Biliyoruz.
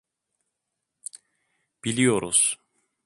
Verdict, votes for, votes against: accepted, 2, 0